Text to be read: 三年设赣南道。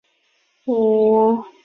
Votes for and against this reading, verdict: 0, 5, rejected